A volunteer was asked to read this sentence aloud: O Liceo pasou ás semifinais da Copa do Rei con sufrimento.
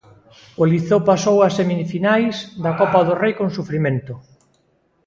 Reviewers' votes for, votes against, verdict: 1, 2, rejected